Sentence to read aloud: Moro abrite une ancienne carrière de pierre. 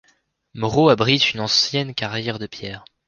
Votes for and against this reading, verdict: 2, 0, accepted